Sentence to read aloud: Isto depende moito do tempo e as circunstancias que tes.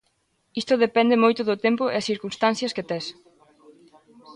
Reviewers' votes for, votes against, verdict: 3, 1, accepted